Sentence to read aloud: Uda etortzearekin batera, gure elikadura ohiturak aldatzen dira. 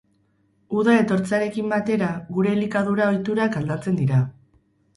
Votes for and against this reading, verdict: 4, 0, accepted